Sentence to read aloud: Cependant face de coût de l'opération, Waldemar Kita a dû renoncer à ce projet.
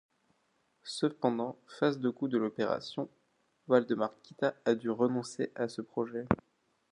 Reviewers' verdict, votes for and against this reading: accepted, 2, 0